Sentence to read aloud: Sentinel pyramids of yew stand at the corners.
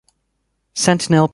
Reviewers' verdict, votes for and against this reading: rejected, 0, 2